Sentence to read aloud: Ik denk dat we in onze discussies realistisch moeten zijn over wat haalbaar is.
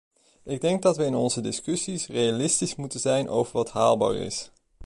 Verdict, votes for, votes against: accepted, 2, 0